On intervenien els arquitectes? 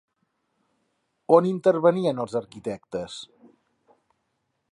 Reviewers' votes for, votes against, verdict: 3, 0, accepted